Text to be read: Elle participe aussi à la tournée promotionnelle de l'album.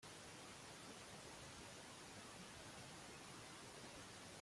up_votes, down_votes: 0, 3